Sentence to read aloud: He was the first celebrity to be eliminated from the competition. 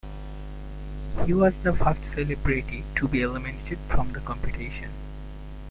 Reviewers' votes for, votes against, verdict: 0, 2, rejected